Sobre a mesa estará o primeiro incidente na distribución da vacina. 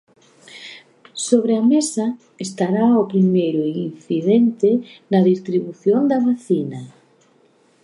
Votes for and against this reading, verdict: 2, 0, accepted